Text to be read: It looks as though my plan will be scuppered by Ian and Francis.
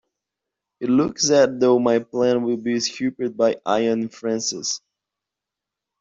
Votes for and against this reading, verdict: 1, 2, rejected